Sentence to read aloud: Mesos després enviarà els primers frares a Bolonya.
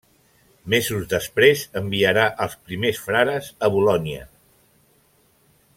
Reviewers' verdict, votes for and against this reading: accepted, 2, 0